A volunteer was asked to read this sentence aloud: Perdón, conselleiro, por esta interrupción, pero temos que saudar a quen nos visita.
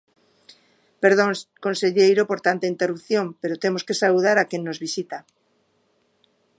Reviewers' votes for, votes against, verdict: 1, 2, rejected